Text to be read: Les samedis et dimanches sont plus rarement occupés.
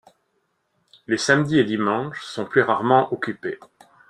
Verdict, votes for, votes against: accepted, 2, 0